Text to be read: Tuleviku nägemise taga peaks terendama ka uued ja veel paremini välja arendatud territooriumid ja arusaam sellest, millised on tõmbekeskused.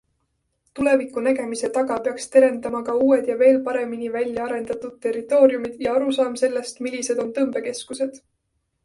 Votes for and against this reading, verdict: 2, 0, accepted